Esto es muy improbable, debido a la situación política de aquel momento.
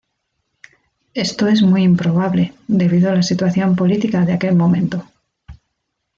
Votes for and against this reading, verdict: 2, 1, accepted